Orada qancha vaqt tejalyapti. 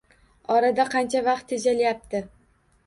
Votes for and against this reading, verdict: 2, 0, accepted